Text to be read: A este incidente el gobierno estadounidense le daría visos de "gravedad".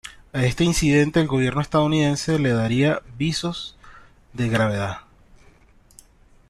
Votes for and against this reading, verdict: 0, 2, rejected